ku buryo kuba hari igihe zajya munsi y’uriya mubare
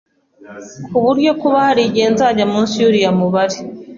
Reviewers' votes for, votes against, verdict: 2, 0, accepted